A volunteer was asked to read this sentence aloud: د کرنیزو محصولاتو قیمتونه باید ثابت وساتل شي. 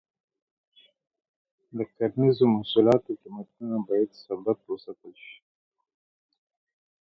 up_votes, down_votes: 2, 0